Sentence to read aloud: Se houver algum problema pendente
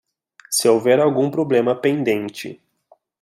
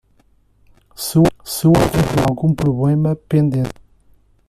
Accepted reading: first